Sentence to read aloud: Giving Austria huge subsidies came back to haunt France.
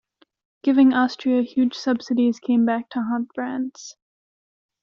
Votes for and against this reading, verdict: 2, 0, accepted